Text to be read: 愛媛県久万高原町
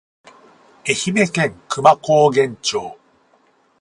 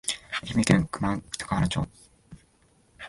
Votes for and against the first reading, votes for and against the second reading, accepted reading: 4, 0, 0, 2, first